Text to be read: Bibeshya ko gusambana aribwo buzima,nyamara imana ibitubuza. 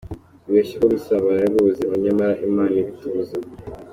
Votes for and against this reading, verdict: 2, 0, accepted